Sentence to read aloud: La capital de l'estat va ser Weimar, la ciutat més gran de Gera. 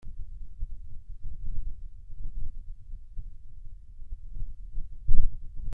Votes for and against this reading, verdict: 0, 2, rejected